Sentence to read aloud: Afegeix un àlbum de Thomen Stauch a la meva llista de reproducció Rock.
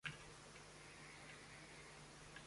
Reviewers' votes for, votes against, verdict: 0, 2, rejected